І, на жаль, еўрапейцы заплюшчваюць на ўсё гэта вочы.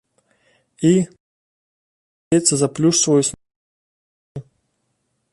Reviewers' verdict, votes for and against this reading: rejected, 1, 2